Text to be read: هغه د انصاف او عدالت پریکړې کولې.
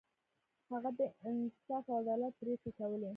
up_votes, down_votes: 2, 0